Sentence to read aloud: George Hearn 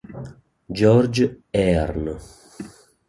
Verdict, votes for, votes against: accepted, 2, 0